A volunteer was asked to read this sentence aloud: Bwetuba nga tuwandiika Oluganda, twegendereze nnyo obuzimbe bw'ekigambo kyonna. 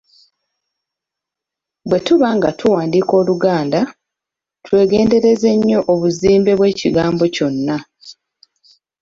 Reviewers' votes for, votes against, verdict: 2, 0, accepted